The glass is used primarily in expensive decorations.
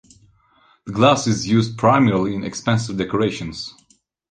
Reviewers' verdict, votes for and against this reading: accepted, 2, 0